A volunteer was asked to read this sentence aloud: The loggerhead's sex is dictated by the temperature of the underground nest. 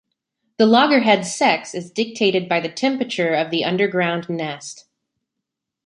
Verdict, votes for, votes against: accepted, 2, 0